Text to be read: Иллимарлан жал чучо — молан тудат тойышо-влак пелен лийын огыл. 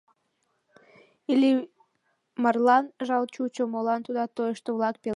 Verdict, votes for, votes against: rejected, 0, 2